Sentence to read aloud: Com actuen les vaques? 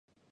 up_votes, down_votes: 0, 2